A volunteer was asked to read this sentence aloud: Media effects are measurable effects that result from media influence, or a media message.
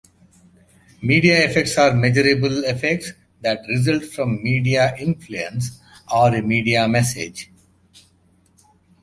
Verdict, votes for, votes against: accepted, 2, 0